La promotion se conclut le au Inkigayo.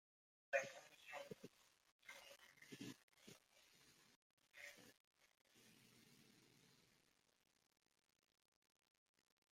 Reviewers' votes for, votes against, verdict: 0, 2, rejected